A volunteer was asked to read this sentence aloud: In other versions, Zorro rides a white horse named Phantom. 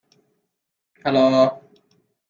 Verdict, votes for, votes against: rejected, 0, 2